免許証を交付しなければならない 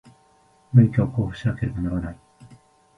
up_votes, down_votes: 1, 2